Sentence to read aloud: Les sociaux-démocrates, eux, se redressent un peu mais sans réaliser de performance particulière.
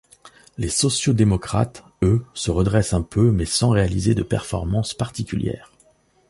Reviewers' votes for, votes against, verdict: 2, 0, accepted